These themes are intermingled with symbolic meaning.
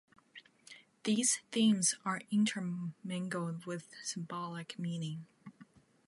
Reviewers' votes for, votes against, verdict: 2, 0, accepted